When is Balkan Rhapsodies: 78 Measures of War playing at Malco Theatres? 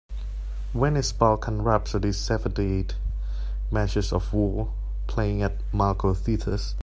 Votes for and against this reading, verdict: 0, 2, rejected